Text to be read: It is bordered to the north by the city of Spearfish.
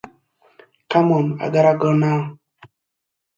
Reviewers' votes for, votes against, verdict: 0, 2, rejected